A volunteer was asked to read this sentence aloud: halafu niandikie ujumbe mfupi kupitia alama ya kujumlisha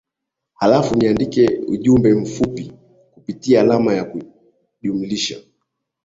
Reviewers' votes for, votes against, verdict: 2, 0, accepted